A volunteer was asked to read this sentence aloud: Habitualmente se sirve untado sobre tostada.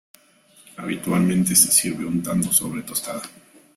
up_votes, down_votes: 1, 2